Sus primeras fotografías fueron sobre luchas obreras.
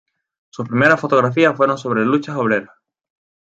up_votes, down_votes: 2, 0